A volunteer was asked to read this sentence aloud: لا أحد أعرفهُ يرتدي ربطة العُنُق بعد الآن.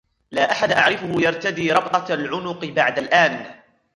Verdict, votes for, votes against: rejected, 0, 2